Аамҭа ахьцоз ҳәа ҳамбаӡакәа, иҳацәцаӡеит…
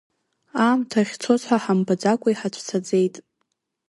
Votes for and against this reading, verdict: 2, 0, accepted